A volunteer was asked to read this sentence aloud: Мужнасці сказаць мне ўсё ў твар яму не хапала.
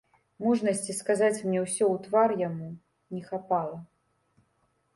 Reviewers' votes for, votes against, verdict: 0, 2, rejected